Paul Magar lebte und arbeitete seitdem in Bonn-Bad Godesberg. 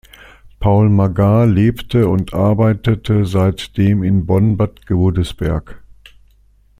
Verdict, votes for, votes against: accepted, 2, 0